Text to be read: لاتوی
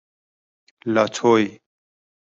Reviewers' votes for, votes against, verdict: 2, 0, accepted